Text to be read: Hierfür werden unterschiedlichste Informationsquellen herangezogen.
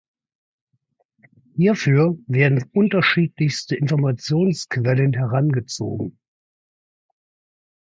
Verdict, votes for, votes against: accepted, 2, 0